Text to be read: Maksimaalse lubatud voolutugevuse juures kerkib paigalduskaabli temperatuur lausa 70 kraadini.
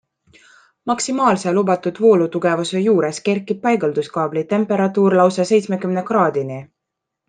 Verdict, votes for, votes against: rejected, 0, 2